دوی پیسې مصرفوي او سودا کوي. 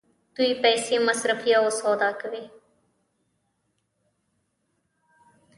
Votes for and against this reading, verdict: 2, 0, accepted